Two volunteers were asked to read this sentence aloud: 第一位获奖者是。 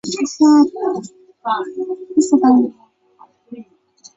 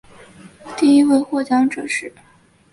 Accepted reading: second